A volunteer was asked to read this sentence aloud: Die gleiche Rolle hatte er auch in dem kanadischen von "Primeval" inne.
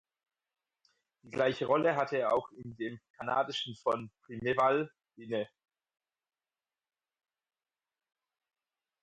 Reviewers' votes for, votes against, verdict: 0, 4, rejected